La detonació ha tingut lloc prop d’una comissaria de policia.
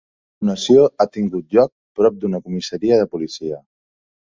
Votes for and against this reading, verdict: 0, 2, rejected